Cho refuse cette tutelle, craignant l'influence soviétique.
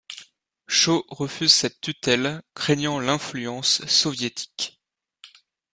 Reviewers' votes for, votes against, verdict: 2, 0, accepted